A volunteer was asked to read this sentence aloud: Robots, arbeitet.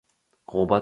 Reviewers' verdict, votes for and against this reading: rejected, 0, 2